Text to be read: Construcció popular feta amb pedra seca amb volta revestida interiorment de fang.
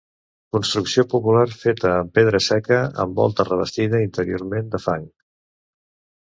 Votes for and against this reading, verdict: 3, 0, accepted